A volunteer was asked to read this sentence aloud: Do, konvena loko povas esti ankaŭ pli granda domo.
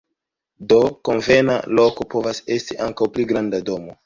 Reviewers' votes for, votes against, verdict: 2, 0, accepted